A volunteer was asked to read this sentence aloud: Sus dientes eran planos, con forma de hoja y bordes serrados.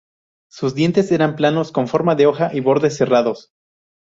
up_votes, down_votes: 2, 2